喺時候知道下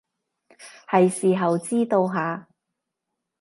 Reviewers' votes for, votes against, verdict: 1, 2, rejected